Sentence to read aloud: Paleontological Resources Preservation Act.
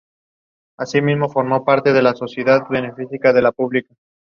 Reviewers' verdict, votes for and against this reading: rejected, 0, 2